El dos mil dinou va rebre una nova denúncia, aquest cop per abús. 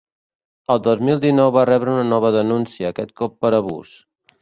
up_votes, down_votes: 3, 0